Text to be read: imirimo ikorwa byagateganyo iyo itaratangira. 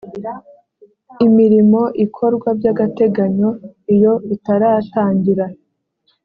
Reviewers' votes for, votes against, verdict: 2, 0, accepted